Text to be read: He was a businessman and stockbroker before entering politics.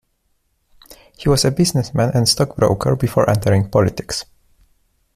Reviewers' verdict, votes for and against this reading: accepted, 2, 0